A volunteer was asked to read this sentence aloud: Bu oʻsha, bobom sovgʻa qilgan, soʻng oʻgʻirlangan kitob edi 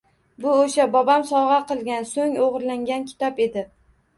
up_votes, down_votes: 2, 0